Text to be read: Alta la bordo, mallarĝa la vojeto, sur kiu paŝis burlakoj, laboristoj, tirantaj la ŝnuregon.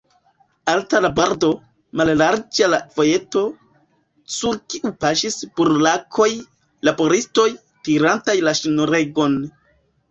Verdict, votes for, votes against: rejected, 1, 2